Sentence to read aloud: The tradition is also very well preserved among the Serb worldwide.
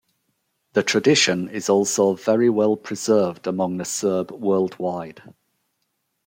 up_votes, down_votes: 2, 0